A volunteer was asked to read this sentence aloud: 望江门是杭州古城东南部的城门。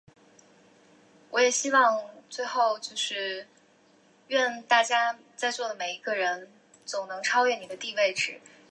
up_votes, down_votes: 0, 2